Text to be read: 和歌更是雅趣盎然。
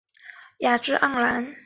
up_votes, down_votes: 1, 2